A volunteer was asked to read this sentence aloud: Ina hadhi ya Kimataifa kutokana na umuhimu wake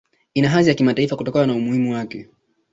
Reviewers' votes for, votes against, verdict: 2, 1, accepted